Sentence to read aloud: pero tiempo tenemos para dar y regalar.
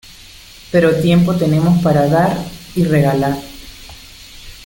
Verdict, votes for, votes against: accepted, 2, 0